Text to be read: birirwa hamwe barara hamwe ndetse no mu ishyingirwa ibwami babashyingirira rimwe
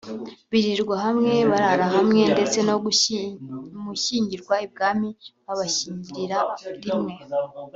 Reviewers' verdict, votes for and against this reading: rejected, 0, 2